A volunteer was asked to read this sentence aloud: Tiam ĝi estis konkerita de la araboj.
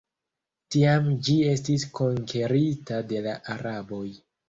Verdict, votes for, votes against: rejected, 1, 2